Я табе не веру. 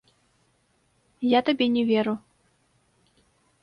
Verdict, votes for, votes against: rejected, 0, 2